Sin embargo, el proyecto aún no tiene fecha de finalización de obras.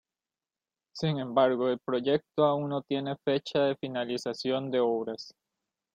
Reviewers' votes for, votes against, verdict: 2, 0, accepted